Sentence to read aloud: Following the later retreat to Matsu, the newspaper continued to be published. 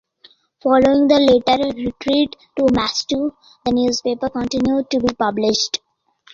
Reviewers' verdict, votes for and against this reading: rejected, 1, 2